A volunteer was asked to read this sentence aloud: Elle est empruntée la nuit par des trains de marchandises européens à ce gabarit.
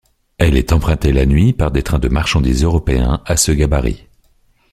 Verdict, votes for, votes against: accepted, 2, 0